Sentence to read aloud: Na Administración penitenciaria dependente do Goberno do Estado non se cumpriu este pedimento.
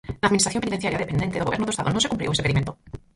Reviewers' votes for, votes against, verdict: 0, 4, rejected